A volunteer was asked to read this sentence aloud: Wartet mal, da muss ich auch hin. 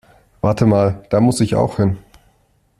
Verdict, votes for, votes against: accepted, 2, 0